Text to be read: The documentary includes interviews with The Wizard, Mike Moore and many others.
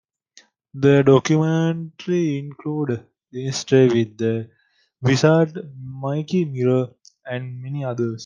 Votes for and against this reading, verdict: 0, 2, rejected